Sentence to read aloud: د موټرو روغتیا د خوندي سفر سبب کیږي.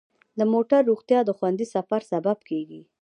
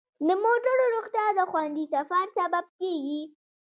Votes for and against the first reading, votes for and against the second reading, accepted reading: 1, 2, 2, 0, second